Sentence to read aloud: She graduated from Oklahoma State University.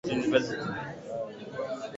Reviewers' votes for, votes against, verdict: 0, 2, rejected